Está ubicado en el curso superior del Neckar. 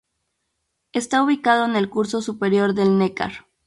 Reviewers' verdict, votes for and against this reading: accepted, 2, 0